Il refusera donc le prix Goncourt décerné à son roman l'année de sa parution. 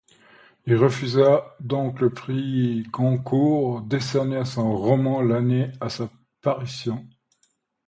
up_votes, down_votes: 1, 2